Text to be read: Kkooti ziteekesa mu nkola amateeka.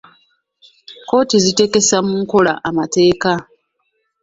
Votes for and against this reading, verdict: 0, 2, rejected